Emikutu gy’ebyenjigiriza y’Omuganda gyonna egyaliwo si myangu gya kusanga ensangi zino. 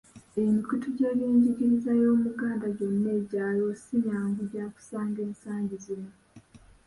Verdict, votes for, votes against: rejected, 2, 3